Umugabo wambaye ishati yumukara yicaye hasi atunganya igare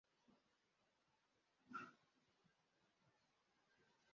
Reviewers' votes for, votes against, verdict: 0, 2, rejected